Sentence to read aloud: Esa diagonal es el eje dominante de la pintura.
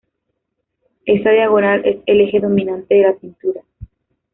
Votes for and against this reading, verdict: 2, 0, accepted